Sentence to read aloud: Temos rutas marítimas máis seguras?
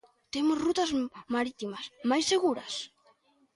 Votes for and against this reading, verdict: 0, 2, rejected